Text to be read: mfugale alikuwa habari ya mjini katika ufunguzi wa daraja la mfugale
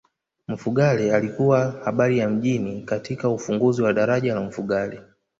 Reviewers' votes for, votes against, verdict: 0, 2, rejected